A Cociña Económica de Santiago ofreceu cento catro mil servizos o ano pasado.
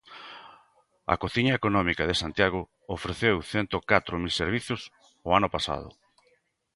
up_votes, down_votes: 2, 1